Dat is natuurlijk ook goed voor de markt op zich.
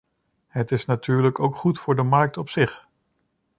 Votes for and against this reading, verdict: 0, 2, rejected